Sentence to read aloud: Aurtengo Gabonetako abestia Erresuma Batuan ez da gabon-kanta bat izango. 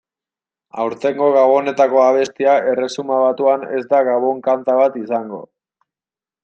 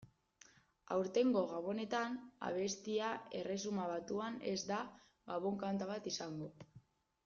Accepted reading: first